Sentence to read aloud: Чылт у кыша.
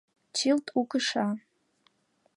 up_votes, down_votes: 2, 1